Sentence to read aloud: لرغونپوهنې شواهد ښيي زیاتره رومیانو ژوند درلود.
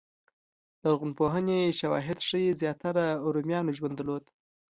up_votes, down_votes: 2, 0